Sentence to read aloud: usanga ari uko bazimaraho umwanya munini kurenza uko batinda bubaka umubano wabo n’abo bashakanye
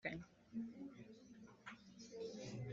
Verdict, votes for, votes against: rejected, 0, 2